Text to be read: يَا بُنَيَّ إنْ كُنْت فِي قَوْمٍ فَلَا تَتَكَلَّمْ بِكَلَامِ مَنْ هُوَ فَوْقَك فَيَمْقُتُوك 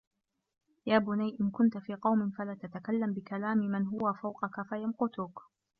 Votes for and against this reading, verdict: 2, 1, accepted